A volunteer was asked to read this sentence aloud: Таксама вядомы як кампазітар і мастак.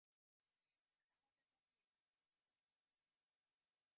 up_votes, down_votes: 0, 2